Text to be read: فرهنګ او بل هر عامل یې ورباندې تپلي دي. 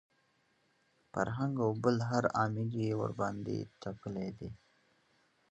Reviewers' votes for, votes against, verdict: 1, 2, rejected